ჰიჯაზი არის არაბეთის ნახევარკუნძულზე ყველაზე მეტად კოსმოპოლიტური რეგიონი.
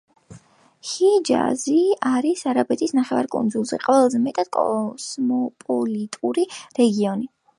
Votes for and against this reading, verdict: 3, 1, accepted